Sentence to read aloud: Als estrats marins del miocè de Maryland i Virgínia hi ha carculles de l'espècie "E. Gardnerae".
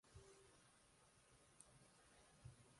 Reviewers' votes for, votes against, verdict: 0, 2, rejected